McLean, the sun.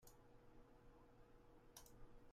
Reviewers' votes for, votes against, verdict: 0, 2, rejected